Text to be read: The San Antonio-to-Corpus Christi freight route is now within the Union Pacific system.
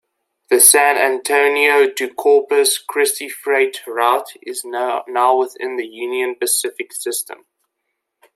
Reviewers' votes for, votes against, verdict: 0, 2, rejected